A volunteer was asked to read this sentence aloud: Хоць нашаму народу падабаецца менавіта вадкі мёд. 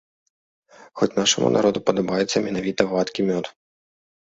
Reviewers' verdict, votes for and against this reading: accepted, 3, 0